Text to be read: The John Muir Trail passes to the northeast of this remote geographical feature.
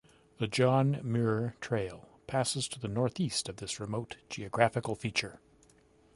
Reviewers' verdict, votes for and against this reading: accepted, 2, 0